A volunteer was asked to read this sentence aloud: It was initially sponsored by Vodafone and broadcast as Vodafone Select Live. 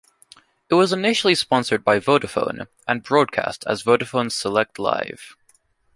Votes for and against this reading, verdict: 2, 0, accepted